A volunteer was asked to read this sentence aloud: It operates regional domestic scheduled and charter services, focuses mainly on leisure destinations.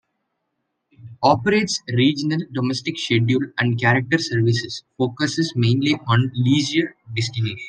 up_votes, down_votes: 0, 2